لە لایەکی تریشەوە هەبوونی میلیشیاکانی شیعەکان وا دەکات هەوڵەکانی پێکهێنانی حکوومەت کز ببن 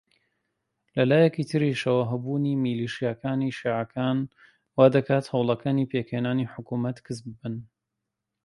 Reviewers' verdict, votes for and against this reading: accepted, 2, 0